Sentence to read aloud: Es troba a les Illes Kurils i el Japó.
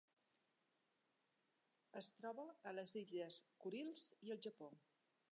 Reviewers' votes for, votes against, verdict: 1, 3, rejected